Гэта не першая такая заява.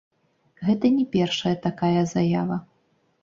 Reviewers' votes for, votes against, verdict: 1, 2, rejected